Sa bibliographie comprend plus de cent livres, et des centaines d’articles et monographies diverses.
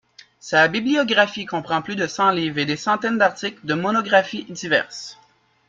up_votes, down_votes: 0, 2